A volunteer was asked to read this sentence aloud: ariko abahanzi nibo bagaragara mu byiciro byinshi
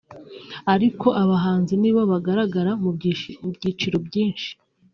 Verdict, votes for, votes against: rejected, 0, 2